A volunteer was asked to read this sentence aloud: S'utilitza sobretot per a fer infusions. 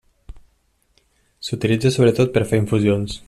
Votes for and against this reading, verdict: 1, 2, rejected